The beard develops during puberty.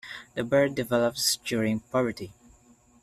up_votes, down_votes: 0, 2